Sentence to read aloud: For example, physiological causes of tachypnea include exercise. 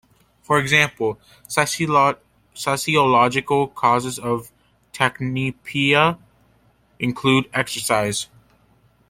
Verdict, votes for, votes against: rejected, 1, 3